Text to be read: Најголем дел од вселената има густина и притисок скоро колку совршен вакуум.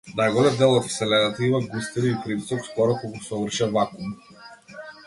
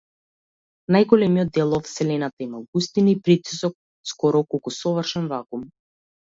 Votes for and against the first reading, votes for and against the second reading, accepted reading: 2, 1, 0, 2, first